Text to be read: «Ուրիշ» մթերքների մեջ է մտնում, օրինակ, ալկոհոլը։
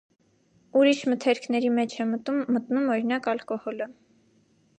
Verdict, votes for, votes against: rejected, 0, 2